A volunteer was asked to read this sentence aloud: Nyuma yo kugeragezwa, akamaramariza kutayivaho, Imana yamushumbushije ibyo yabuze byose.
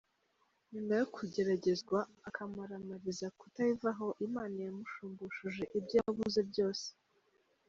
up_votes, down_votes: 2, 0